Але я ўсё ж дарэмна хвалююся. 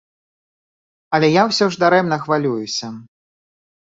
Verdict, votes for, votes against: accepted, 2, 0